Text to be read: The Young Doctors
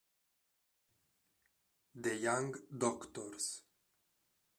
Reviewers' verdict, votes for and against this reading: rejected, 0, 2